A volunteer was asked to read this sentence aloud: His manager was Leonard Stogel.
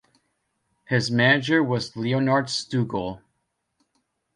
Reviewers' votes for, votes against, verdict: 1, 2, rejected